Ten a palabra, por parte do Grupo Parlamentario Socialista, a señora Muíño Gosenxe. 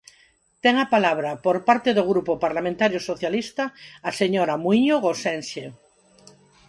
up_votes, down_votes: 4, 0